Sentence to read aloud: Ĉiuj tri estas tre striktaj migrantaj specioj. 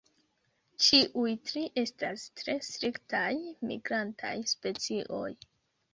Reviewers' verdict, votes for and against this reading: accepted, 2, 0